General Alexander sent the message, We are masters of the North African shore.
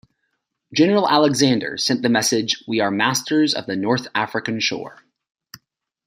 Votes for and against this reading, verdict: 2, 0, accepted